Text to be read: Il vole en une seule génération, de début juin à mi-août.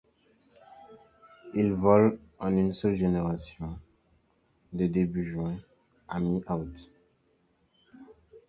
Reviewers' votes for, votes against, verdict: 2, 0, accepted